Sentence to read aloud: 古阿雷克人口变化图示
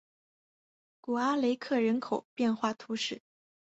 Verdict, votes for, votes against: accepted, 3, 0